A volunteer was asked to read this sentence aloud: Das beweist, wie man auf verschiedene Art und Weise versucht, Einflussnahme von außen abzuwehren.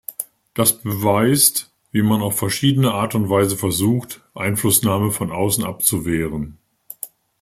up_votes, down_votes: 2, 0